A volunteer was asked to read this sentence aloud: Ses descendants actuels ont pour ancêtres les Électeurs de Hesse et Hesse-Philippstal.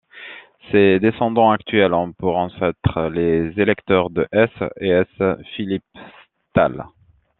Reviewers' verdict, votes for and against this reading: rejected, 0, 2